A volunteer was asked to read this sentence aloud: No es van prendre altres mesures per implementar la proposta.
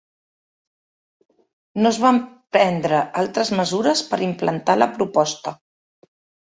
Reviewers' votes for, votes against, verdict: 0, 2, rejected